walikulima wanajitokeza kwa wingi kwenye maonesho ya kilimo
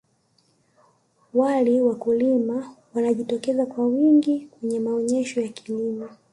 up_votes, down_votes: 1, 2